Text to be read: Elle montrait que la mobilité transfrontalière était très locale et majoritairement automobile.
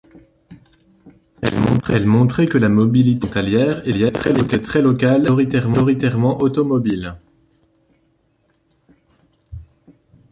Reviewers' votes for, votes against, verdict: 0, 2, rejected